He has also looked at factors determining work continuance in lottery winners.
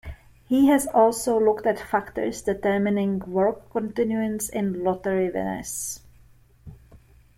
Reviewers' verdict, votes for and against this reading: accepted, 2, 0